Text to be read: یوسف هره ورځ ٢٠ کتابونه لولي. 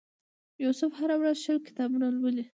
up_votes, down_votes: 0, 2